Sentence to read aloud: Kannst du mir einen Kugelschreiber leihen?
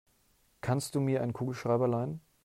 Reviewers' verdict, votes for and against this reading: rejected, 1, 2